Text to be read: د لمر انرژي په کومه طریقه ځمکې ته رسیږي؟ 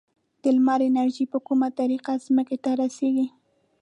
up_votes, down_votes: 2, 0